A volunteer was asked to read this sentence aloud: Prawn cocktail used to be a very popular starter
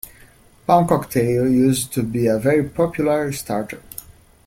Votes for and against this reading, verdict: 2, 0, accepted